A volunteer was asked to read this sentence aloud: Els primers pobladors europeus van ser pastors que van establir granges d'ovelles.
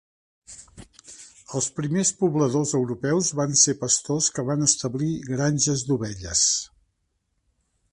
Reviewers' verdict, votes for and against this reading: accepted, 3, 0